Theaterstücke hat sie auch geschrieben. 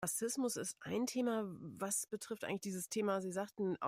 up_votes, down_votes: 0, 2